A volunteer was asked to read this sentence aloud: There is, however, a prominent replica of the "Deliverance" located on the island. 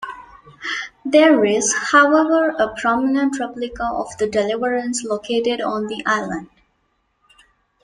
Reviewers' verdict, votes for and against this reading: accepted, 2, 0